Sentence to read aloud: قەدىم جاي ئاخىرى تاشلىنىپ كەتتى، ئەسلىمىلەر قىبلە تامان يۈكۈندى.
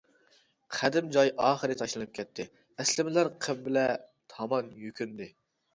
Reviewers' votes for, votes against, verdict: 1, 2, rejected